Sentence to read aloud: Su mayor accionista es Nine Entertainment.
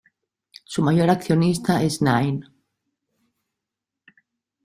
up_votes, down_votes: 0, 2